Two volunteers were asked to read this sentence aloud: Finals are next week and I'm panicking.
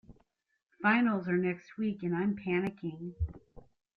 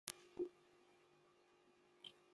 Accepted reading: first